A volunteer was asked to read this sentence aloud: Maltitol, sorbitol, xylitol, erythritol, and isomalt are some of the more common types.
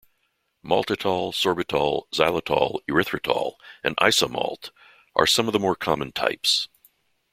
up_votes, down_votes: 2, 0